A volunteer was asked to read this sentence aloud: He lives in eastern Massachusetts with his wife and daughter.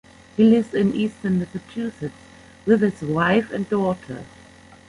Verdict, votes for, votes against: rejected, 0, 2